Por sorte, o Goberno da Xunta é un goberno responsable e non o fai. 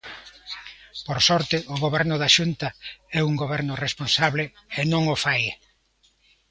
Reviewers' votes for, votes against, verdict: 2, 0, accepted